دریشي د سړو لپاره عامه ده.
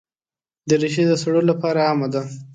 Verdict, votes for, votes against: accepted, 3, 0